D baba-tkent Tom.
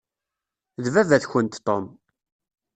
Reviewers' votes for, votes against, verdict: 2, 0, accepted